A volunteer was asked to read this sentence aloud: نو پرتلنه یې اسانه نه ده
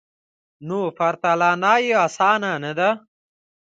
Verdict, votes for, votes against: accepted, 2, 1